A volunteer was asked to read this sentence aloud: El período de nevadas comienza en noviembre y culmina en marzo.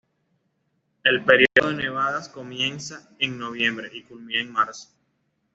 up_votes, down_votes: 2, 0